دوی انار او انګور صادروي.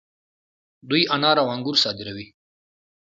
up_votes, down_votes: 2, 0